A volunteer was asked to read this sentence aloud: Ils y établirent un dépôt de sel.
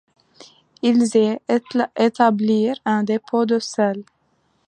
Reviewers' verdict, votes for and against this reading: rejected, 0, 2